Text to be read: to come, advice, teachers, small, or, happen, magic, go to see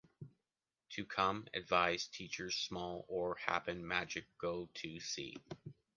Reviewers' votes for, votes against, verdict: 2, 0, accepted